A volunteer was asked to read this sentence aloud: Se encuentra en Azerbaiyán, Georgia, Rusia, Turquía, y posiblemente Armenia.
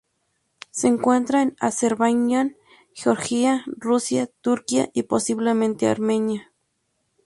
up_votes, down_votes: 2, 4